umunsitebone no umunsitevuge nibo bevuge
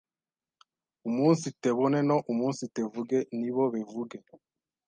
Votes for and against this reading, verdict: 0, 2, rejected